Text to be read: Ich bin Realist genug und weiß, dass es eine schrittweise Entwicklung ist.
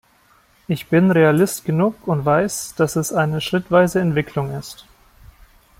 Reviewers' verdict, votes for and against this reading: accepted, 2, 0